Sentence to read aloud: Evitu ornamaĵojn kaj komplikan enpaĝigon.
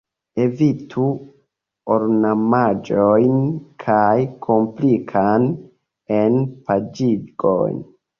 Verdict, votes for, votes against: rejected, 1, 2